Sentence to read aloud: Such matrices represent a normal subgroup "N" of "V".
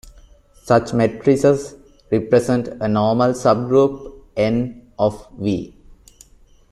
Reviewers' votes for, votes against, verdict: 3, 1, accepted